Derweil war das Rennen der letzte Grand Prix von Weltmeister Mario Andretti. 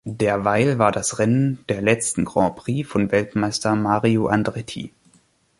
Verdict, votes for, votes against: rejected, 0, 2